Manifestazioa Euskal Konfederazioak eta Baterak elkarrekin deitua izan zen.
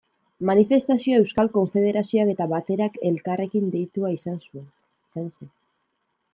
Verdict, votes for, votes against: rejected, 0, 2